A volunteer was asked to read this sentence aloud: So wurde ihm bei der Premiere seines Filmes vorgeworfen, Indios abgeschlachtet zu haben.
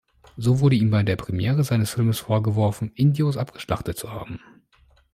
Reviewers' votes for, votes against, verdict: 2, 0, accepted